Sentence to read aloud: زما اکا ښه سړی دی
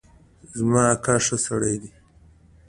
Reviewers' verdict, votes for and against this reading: accepted, 2, 0